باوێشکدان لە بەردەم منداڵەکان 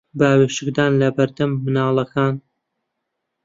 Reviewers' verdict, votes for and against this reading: rejected, 1, 2